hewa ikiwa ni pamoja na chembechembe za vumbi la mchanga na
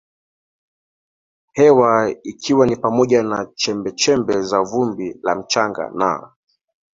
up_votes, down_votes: 2, 1